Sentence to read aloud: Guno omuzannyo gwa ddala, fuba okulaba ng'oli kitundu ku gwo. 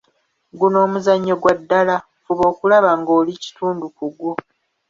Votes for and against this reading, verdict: 2, 0, accepted